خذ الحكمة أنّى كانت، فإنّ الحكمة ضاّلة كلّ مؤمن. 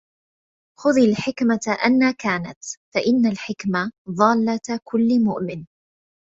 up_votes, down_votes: 1, 2